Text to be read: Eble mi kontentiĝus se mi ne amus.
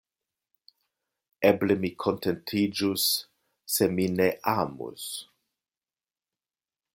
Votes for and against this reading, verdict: 2, 0, accepted